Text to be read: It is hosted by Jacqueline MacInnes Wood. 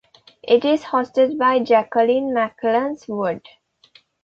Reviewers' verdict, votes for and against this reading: accepted, 2, 0